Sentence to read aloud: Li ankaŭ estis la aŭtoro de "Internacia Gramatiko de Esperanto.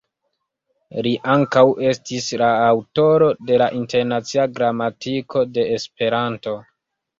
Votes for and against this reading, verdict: 2, 0, accepted